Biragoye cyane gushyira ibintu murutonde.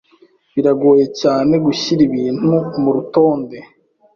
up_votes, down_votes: 2, 0